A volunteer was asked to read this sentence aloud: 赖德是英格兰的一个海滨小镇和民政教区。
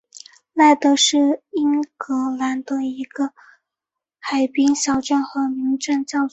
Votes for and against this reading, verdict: 5, 1, accepted